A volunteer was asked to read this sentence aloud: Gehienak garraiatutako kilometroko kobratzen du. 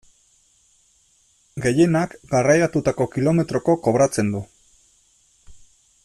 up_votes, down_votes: 2, 0